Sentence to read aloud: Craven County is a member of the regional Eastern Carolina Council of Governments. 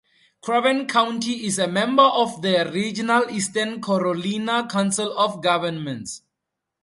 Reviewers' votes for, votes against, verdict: 2, 0, accepted